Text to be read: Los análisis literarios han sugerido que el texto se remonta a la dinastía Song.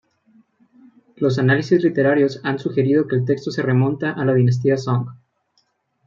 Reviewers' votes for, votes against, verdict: 2, 0, accepted